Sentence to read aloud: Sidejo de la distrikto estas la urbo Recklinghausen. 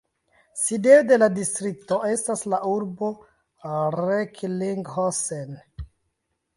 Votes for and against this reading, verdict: 1, 2, rejected